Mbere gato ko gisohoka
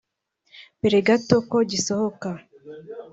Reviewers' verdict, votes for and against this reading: accepted, 4, 0